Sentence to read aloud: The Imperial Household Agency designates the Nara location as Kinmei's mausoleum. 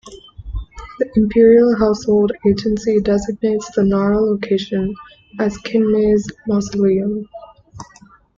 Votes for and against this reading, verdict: 2, 0, accepted